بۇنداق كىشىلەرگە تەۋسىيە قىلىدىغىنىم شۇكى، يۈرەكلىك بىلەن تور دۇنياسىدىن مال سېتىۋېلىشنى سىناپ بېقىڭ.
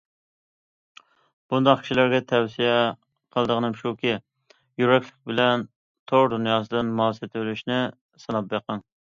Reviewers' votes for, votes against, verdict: 2, 0, accepted